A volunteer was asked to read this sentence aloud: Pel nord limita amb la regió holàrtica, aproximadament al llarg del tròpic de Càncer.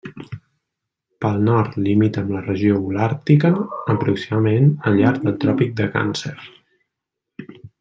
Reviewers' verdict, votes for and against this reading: rejected, 1, 2